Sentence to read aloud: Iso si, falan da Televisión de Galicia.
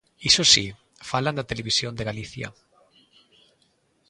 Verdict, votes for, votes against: accepted, 3, 0